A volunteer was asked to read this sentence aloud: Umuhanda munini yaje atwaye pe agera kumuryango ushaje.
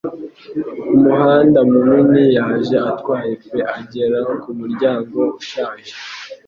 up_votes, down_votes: 2, 0